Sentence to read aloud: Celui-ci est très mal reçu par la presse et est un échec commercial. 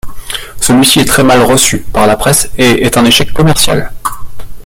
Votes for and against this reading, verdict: 1, 2, rejected